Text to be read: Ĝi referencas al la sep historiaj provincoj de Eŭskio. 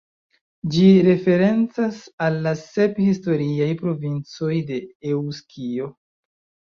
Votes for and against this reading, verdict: 1, 2, rejected